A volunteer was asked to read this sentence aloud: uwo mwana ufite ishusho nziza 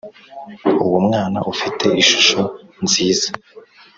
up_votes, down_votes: 2, 0